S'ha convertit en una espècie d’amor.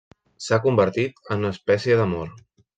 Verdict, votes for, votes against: accepted, 4, 0